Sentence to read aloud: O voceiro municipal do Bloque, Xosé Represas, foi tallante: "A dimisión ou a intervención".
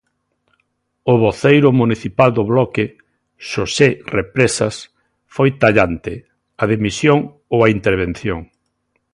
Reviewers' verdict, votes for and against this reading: accepted, 3, 0